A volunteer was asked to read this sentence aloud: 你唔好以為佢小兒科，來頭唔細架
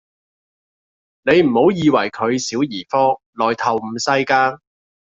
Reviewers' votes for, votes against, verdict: 2, 0, accepted